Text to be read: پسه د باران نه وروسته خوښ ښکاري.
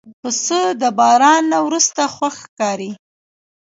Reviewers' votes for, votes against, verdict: 1, 2, rejected